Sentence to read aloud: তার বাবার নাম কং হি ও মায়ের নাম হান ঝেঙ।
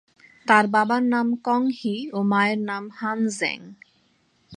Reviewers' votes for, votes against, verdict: 31, 1, accepted